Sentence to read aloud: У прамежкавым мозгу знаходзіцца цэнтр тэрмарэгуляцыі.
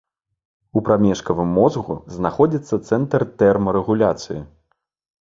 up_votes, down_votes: 2, 0